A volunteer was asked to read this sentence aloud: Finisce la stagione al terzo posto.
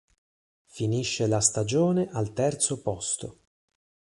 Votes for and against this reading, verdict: 6, 0, accepted